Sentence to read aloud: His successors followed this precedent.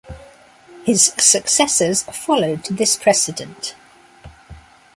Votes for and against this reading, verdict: 2, 0, accepted